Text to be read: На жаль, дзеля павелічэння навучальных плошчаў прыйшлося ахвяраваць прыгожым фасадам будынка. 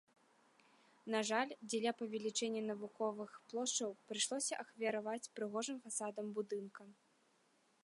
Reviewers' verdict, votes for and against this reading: accepted, 2, 1